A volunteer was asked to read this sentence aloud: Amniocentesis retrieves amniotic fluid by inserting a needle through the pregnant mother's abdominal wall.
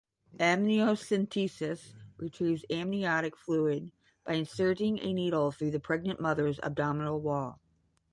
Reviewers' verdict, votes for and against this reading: accepted, 10, 0